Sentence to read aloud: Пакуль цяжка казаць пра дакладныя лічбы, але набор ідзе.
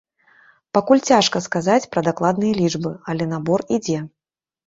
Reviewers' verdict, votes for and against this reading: rejected, 0, 2